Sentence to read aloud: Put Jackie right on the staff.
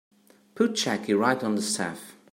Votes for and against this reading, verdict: 3, 0, accepted